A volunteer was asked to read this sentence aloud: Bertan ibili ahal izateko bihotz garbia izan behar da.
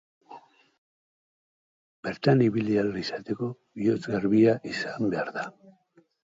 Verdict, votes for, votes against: accepted, 6, 0